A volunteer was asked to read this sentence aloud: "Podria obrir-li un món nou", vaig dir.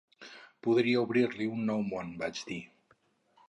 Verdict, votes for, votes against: rejected, 2, 2